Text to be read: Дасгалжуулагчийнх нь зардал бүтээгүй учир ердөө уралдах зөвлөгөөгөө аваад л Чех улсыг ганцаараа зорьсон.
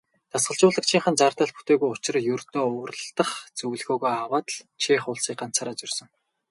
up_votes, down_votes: 2, 0